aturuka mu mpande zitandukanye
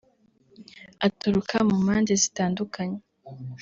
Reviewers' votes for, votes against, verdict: 2, 0, accepted